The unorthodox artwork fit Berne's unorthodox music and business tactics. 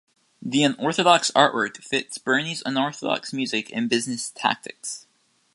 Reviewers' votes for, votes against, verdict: 1, 2, rejected